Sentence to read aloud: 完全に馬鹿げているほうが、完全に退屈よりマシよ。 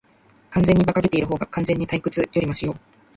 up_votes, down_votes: 1, 2